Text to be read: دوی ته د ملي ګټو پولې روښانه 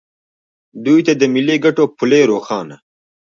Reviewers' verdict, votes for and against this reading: rejected, 1, 2